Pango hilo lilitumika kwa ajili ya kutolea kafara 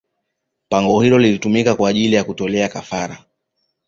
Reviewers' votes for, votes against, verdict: 2, 0, accepted